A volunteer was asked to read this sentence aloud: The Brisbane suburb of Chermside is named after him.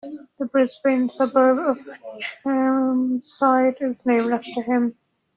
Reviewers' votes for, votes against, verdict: 0, 2, rejected